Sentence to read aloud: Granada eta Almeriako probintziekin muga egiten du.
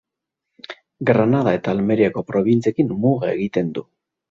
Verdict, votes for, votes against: accepted, 2, 0